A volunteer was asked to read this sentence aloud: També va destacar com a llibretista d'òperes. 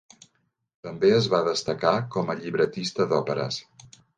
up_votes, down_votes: 1, 2